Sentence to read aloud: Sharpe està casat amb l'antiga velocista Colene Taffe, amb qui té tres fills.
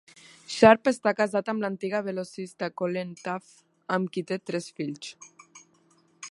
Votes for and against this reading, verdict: 2, 0, accepted